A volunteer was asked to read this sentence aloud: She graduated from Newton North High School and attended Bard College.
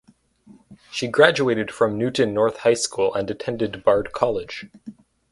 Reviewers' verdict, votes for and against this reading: rejected, 2, 2